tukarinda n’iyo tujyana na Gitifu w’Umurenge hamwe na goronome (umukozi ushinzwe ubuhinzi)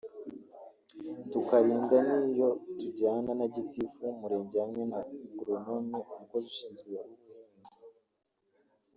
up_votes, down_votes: 1, 2